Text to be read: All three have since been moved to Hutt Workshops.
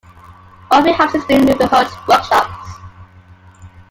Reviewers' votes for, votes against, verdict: 0, 2, rejected